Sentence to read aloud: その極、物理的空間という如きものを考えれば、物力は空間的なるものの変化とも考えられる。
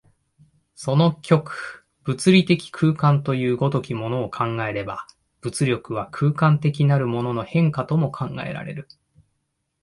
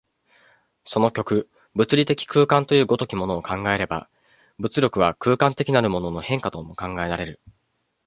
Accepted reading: first